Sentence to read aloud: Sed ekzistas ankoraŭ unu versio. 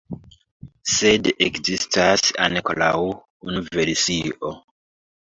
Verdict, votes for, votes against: accepted, 2, 1